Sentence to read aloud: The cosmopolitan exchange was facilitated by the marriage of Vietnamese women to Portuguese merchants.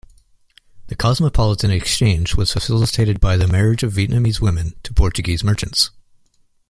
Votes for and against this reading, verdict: 2, 0, accepted